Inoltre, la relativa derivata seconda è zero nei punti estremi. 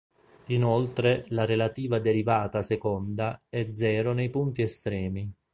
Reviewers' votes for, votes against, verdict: 2, 0, accepted